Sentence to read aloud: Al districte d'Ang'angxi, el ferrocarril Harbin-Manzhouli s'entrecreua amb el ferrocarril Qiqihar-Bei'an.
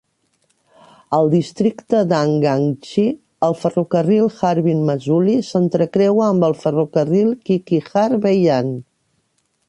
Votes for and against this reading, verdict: 1, 2, rejected